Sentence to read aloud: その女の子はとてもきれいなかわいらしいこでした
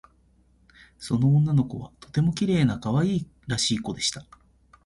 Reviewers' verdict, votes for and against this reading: rejected, 0, 2